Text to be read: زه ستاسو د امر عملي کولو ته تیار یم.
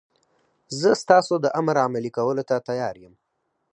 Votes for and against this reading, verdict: 4, 0, accepted